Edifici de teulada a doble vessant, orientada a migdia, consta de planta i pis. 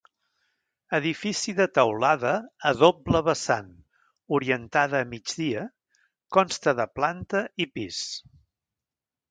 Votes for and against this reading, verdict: 2, 0, accepted